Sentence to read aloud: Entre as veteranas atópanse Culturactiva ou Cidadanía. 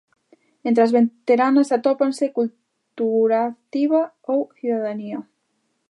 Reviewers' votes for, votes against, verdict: 1, 2, rejected